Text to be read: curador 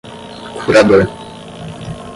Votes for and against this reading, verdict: 0, 5, rejected